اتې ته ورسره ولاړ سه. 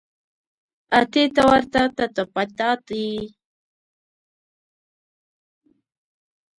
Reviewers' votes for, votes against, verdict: 1, 2, rejected